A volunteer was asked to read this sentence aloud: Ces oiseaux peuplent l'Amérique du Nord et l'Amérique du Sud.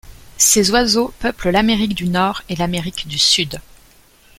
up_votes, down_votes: 2, 0